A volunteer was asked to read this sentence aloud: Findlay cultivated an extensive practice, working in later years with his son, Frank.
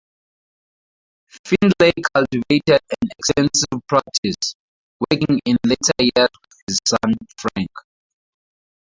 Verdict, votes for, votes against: rejected, 0, 2